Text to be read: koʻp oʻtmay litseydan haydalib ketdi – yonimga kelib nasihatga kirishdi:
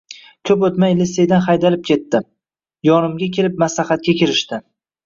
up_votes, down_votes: 0, 2